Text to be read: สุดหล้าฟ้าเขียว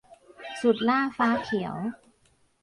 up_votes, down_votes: 1, 2